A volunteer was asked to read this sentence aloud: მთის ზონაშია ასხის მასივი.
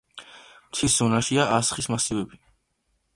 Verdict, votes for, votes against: rejected, 0, 2